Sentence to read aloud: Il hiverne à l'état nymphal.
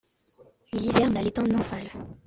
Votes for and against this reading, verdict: 2, 1, accepted